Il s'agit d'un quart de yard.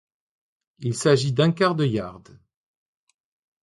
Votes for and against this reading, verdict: 2, 0, accepted